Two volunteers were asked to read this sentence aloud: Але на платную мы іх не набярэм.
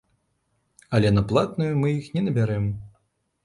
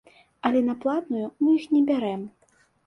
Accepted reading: first